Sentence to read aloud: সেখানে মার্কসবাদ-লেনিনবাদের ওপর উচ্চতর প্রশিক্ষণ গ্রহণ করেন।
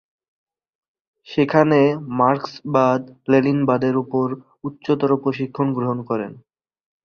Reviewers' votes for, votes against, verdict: 2, 0, accepted